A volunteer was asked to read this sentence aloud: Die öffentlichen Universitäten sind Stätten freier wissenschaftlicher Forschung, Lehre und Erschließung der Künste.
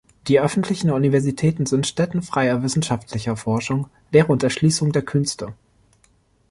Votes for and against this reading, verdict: 2, 0, accepted